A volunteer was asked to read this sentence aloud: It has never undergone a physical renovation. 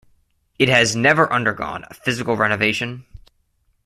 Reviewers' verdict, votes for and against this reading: accepted, 2, 0